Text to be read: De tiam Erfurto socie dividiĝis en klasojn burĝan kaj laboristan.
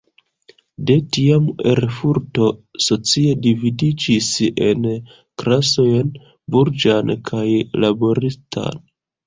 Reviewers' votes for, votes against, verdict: 0, 2, rejected